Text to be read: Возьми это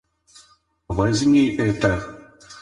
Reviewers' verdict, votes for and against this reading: rejected, 2, 4